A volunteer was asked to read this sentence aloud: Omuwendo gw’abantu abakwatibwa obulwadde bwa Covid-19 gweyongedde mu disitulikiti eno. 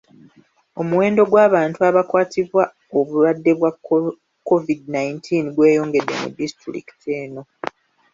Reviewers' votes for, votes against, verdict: 0, 2, rejected